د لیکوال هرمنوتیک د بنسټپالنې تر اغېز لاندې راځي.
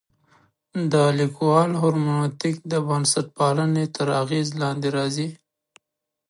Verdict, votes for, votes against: accepted, 2, 0